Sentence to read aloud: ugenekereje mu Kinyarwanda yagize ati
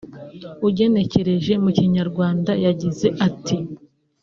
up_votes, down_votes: 1, 2